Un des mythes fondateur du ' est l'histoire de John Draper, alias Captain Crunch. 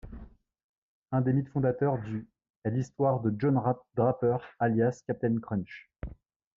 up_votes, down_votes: 0, 2